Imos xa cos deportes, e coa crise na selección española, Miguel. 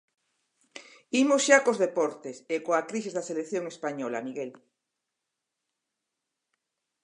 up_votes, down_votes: 0, 4